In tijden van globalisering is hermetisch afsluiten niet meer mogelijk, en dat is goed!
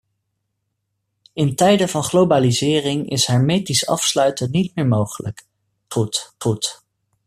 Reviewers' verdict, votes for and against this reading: rejected, 0, 2